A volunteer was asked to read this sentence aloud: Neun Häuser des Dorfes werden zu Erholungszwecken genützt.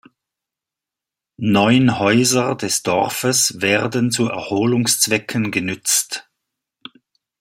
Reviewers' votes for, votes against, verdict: 2, 0, accepted